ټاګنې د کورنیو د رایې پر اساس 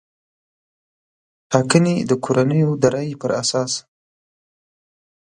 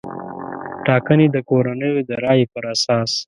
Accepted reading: first